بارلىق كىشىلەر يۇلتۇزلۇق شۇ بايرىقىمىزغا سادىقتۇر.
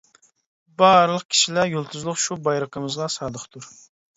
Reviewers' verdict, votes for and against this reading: accepted, 3, 0